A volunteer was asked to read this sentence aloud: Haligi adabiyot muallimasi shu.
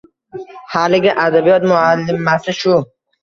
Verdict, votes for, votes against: rejected, 1, 2